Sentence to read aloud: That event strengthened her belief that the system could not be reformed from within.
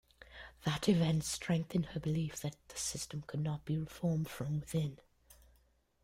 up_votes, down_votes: 2, 0